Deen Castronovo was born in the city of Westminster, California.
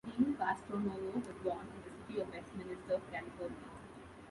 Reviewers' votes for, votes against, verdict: 0, 2, rejected